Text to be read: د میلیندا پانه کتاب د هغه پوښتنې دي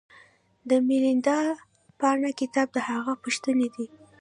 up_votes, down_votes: 1, 2